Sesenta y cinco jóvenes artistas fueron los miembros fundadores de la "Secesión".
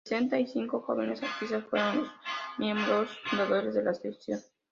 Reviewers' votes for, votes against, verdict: 1, 2, rejected